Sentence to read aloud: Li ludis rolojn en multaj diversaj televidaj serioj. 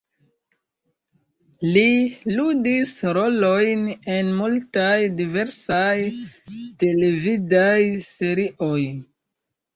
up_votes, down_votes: 2, 0